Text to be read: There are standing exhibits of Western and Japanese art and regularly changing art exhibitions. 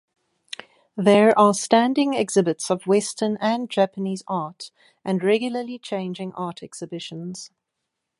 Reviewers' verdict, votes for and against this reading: accepted, 2, 0